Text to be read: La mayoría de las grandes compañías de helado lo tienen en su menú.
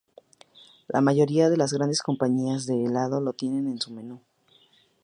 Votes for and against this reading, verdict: 4, 0, accepted